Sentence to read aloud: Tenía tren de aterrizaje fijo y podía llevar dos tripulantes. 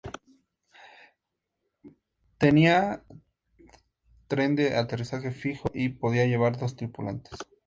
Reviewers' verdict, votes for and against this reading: accepted, 2, 0